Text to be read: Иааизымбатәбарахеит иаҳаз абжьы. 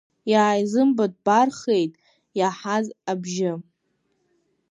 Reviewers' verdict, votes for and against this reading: rejected, 1, 2